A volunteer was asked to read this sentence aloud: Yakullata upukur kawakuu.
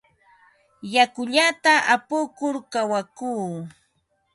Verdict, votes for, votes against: accepted, 6, 0